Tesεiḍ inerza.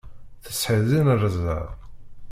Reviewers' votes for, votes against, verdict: 1, 2, rejected